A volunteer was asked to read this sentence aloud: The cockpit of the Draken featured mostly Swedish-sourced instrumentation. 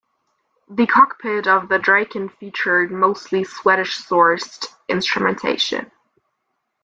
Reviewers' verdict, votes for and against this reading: rejected, 0, 2